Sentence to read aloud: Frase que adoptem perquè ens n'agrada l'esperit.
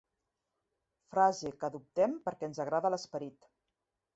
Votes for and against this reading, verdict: 0, 2, rejected